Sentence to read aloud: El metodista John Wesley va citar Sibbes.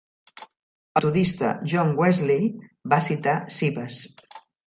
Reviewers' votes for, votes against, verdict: 1, 2, rejected